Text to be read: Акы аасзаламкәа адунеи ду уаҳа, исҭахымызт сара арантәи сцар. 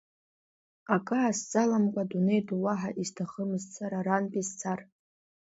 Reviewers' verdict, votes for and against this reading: accepted, 2, 0